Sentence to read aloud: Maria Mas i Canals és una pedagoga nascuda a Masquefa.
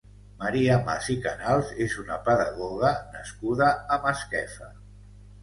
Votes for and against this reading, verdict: 2, 0, accepted